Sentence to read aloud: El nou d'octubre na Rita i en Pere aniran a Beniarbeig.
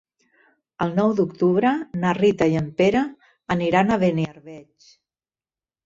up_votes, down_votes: 0, 2